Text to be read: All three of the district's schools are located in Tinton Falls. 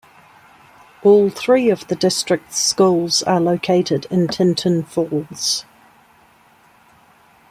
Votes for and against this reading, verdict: 2, 0, accepted